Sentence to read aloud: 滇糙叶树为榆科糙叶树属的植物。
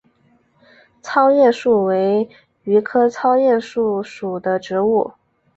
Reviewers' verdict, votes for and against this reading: rejected, 1, 3